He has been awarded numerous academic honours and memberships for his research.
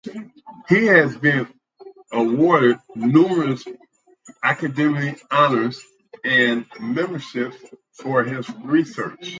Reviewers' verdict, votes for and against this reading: accepted, 2, 0